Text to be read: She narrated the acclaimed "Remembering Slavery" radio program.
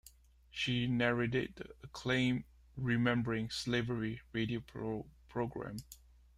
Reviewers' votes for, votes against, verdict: 1, 2, rejected